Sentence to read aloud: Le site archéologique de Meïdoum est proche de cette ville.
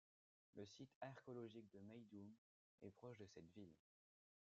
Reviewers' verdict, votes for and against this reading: rejected, 0, 2